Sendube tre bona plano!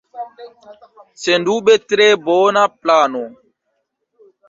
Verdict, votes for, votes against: accepted, 2, 0